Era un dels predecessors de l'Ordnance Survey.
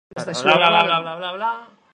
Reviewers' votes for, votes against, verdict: 0, 2, rejected